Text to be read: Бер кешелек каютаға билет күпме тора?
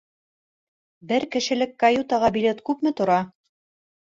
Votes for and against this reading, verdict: 1, 2, rejected